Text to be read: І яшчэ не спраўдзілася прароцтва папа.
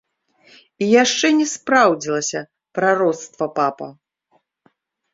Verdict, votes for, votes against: rejected, 0, 2